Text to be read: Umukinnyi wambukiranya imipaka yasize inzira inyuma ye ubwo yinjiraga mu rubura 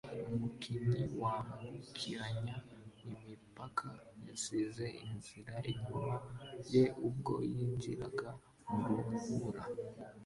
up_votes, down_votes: 2, 0